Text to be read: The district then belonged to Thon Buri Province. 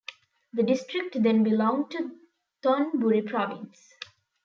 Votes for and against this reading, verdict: 2, 0, accepted